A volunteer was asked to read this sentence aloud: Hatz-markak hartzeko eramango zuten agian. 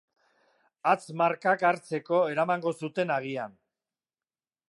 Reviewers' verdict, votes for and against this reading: accepted, 2, 0